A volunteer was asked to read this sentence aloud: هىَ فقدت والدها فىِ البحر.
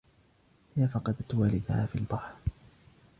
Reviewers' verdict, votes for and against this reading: rejected, 0, 2